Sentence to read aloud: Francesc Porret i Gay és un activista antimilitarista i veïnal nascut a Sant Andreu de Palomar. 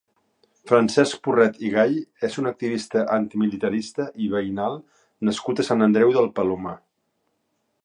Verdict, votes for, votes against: rejected, 1, 2